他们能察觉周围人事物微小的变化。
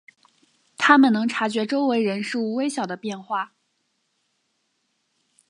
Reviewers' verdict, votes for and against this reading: accepted, 2, 0